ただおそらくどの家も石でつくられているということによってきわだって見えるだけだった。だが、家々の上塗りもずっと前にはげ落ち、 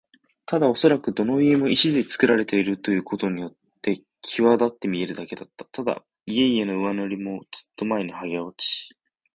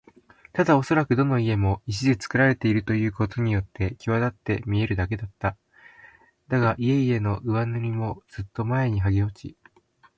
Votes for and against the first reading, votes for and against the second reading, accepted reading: 1, 2, 2, 0, second